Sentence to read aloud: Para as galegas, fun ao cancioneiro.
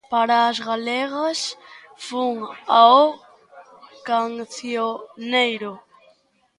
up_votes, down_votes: 1, 2